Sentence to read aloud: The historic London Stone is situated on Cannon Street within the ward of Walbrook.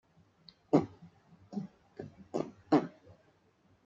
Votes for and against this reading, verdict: 0, 2, rejected